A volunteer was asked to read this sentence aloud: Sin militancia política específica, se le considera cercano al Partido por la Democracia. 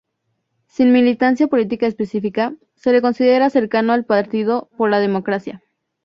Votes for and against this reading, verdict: 4, 0, accepted